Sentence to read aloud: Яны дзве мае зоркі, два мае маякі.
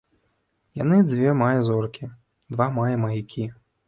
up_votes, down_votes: 0, 3